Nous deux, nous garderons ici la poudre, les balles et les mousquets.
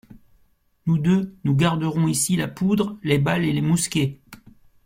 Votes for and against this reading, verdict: 2, 0, accepted